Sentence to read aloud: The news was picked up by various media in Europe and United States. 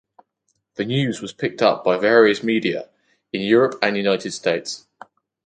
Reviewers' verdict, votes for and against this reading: accepted, 4, 0